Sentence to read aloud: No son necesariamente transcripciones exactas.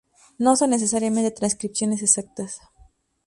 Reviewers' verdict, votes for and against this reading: accepted, 2, 0